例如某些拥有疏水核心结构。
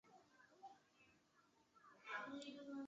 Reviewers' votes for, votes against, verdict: 0, 2, rejected